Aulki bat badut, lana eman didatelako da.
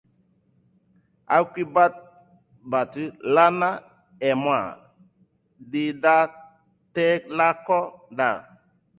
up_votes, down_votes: 2, 0